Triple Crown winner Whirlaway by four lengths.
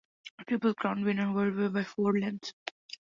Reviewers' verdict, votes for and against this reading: accepted, 2, 0